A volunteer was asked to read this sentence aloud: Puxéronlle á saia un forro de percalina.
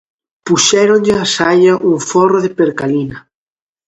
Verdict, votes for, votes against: accepted, 2, 0